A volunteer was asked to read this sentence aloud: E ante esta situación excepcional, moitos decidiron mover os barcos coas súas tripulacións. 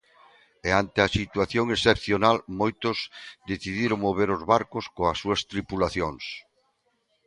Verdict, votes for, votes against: rejected, 0, 2